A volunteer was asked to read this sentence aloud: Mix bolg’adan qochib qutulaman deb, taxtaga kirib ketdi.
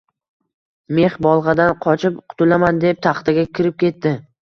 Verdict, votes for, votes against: accepted, 2, 0